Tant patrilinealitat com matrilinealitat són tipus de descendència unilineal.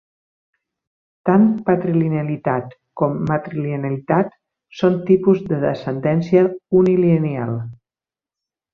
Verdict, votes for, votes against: accepted, 2, 1